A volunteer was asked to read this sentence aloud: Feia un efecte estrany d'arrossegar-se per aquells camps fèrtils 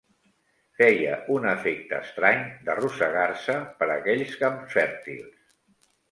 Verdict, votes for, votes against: rejected, 0, 2